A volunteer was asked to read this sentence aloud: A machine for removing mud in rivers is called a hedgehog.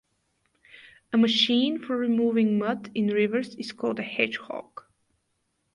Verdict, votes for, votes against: rejected, 2, 2